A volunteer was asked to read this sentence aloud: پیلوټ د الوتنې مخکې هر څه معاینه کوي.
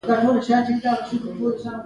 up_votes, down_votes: 1, 2